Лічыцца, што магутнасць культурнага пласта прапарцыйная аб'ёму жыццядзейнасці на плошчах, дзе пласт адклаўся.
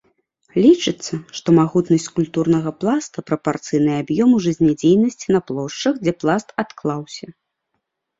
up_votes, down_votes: 0, 2